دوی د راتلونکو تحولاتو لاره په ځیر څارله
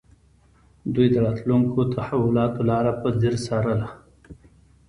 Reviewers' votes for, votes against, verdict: 2, 0, accepted